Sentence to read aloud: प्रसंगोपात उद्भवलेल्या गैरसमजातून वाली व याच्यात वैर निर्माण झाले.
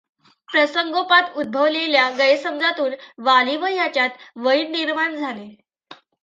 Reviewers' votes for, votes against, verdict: 2, 0, accepted